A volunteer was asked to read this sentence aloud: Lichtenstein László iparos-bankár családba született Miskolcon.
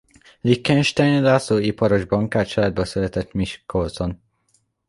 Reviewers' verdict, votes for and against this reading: rejected, 0, 2